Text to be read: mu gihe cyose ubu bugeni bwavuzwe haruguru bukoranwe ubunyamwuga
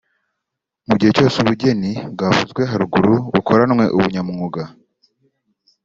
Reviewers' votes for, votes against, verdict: 2, 0, accepted